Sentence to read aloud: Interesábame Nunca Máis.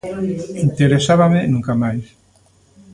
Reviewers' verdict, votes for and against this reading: accepted, 2, 0